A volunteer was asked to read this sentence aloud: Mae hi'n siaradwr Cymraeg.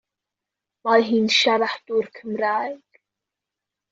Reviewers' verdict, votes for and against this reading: accepted, 2, 0